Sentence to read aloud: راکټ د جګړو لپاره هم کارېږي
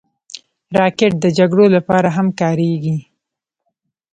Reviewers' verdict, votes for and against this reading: rejected, 0, 2